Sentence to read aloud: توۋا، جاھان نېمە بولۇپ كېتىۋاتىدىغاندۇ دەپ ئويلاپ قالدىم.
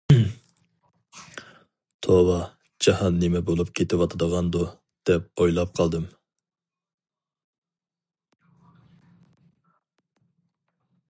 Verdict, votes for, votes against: accepted, 2, 0